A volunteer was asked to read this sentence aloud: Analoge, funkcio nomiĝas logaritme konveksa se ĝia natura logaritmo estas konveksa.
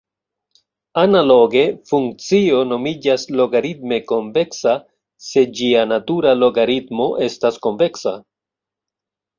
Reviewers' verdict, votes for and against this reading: accepted, 2, 0